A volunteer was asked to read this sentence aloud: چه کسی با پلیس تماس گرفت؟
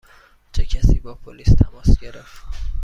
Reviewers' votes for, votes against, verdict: 2, 0, accepted